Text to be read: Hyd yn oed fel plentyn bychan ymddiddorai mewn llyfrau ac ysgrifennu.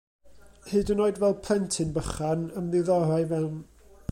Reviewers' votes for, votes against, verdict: 0, 2, rejected